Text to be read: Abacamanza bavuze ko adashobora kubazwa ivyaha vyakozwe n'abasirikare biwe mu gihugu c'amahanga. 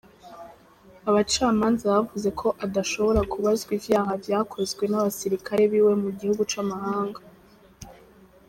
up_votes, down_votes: 2, 0